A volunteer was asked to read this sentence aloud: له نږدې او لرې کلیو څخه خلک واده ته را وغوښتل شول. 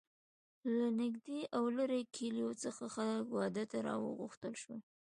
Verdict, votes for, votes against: accepted, 2, 0